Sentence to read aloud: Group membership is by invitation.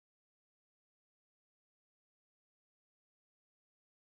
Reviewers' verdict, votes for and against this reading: rejected, 0, 2